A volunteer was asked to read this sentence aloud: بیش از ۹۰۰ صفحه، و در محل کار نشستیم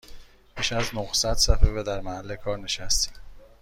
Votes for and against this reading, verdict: 0, 2, rejected